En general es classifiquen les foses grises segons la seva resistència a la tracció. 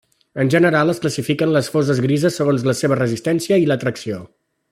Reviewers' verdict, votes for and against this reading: rejected, 0, 2